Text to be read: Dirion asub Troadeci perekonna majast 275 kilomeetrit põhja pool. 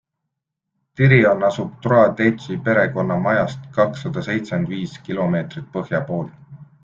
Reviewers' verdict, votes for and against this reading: rejected, 0, 2